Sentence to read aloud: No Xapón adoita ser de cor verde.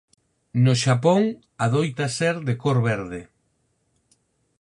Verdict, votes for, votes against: accepted, 4, 0